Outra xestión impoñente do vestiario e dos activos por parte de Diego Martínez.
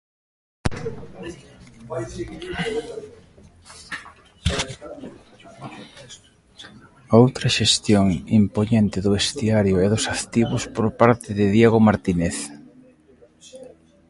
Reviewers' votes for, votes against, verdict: 1, 2, rejected